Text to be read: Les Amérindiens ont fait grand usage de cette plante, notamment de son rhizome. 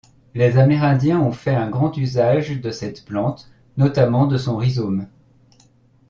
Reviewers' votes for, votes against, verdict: 1, 2, rejected